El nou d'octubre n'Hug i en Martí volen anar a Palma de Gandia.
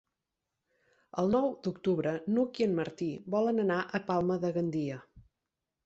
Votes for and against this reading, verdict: 6, 0, accepted